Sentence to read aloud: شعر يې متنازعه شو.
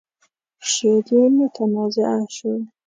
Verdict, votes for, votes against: accepted, 2, 0